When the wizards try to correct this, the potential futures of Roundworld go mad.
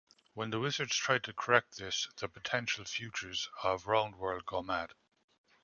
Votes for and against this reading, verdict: 0, 2, rejected